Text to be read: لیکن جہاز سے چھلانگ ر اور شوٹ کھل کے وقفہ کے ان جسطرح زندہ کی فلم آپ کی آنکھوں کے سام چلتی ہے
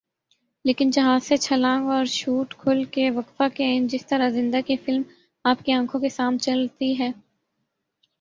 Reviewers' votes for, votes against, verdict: 6, 3, accepted